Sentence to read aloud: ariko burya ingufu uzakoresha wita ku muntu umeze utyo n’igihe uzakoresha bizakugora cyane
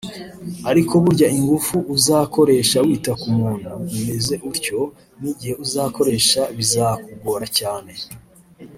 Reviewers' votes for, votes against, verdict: 1, 2, rejected